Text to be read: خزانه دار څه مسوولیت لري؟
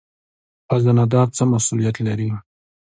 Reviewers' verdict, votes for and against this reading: accepted, 2, 0